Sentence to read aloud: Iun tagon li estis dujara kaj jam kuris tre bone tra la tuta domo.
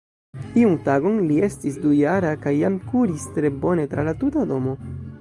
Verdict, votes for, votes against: rejected, 0, 3